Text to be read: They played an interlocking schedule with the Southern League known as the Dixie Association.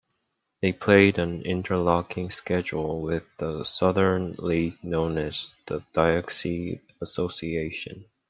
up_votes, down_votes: 1, 2